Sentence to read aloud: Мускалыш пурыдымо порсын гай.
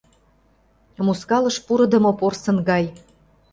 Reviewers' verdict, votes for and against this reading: accepted, 2, 0